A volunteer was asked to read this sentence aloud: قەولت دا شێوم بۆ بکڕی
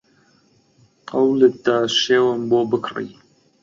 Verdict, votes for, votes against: accepted, 2, 0